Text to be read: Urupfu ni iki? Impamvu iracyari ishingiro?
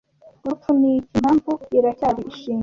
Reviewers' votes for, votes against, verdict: 1, 2, rejected